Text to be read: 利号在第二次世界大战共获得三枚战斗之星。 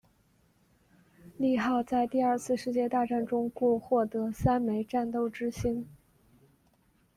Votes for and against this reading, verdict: 1, 2, rejected